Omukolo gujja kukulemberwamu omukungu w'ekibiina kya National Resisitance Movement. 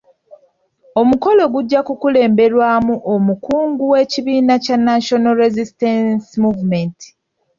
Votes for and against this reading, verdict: 2, 0, accepted